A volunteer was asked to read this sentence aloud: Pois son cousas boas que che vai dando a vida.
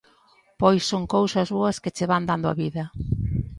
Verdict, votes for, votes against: rejected, 0, 2